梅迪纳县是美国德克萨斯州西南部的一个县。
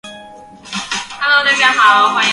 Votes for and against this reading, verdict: 0, 2, rejected